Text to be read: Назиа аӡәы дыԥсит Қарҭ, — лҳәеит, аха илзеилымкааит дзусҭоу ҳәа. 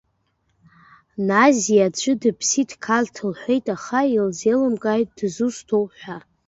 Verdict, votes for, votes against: rejected, 1, 2